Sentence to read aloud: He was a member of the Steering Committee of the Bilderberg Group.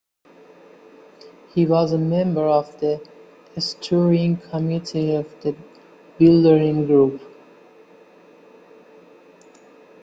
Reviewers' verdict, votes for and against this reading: rejected, 0, 2